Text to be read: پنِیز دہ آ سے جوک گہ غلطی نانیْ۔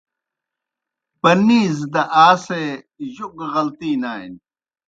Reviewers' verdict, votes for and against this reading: rejected, 0, 2